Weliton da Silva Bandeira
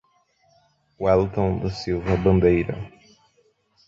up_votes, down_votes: 2, 0